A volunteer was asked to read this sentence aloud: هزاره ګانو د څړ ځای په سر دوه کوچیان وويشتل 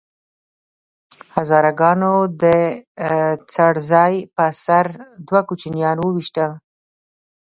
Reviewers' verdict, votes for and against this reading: rejected, 1, 2